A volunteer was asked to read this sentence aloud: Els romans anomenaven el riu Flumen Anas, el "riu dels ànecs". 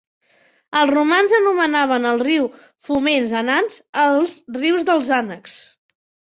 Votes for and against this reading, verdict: 0, 2, rejected